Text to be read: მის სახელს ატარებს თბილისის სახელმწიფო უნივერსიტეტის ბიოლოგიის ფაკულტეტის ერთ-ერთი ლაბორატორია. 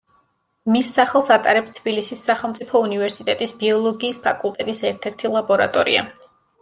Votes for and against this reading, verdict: 2, 0, accepted